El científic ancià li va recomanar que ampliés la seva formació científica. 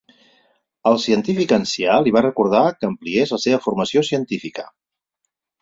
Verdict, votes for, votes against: rejected, 0, 4